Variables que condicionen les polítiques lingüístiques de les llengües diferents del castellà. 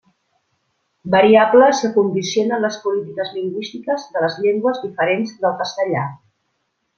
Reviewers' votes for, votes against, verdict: 2, 0, accepted